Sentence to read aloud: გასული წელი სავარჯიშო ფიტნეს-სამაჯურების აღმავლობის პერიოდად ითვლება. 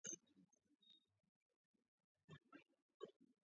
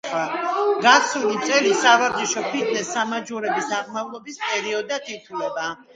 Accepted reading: second